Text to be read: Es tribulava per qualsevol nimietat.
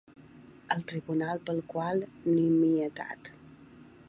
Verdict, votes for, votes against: rejected, 2, 4